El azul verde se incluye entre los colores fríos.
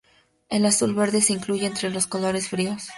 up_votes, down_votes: 2, 0